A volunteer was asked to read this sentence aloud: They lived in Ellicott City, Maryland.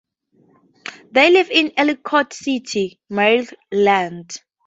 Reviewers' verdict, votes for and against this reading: accepted, 2, 0